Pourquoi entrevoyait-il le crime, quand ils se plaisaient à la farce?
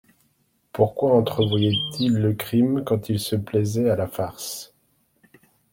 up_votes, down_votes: 2, 0